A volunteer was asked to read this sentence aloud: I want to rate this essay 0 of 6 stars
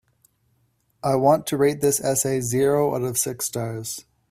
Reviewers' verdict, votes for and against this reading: rejected, 0, 2